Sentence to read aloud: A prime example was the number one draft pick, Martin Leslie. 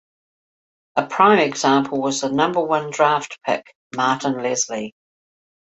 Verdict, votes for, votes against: accepted, 2, 0